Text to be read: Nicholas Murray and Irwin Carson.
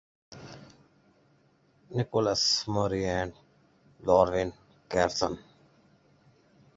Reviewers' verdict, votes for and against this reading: rejected, 1, 2